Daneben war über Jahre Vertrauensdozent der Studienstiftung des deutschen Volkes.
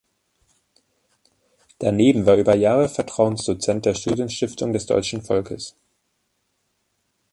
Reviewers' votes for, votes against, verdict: 2, 0, accepted